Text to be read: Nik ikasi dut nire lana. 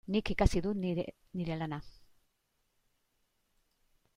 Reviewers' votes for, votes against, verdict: 1, 2, rejected